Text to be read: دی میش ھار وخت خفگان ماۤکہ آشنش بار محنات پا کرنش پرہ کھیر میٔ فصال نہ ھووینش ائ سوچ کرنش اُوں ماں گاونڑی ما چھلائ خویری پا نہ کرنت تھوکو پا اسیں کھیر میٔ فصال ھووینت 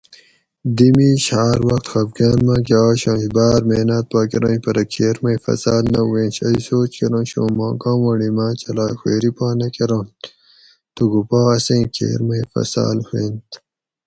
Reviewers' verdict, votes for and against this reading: accepted, 4, 0